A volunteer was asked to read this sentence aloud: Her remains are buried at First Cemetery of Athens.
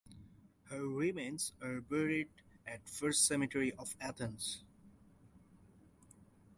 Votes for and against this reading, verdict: 2, 0, accepted